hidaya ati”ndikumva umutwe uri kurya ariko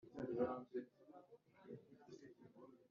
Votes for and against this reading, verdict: 1, 3, rejected